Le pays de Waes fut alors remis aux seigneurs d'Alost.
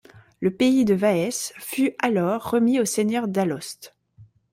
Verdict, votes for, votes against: rejected, 1, 2